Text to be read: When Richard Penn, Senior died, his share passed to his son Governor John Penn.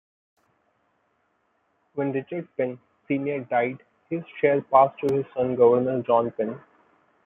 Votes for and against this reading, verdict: 1, 2, rejected